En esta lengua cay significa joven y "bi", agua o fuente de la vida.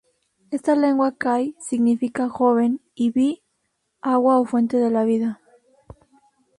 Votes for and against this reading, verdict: 0, 2, rejected